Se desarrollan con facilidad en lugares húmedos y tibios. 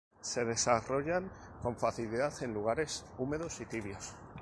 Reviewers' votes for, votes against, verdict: 4, 0, accepted